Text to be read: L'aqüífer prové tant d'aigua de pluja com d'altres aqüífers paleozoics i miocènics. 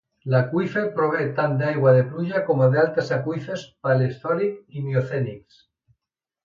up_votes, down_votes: 1, 2